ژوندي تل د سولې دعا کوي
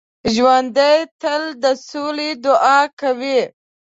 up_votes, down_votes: 0, 2